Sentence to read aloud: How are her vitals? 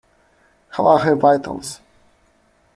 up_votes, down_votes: 2, 0